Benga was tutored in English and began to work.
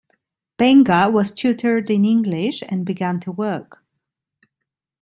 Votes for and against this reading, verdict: 2, 0, accepted